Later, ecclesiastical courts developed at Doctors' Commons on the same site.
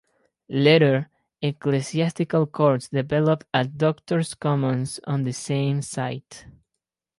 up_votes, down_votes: 2, 0